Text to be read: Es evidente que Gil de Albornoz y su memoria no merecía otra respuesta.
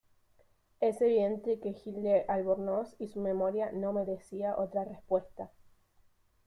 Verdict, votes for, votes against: accepted, 2, 0